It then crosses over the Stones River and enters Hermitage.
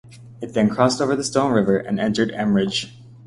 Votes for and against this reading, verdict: 0, 2, rejected